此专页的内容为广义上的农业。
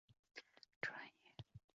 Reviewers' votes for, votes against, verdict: 1, 3, rejected